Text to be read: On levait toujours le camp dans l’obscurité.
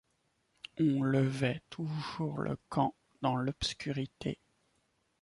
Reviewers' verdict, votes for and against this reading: accepted, 2, 1